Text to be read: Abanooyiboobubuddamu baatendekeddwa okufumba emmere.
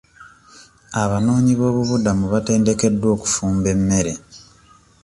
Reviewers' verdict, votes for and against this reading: rejected, 1, 2